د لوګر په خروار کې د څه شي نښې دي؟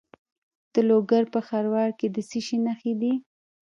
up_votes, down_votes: 1, 2